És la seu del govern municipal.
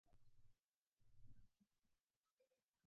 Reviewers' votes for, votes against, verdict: 1, 2, rejected